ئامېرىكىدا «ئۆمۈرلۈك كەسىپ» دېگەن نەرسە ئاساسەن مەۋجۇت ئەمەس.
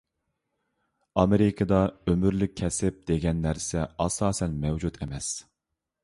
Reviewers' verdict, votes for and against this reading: accepted, 2, 0